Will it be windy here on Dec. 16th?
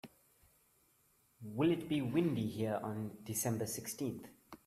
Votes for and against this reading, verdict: 0, 2, rejected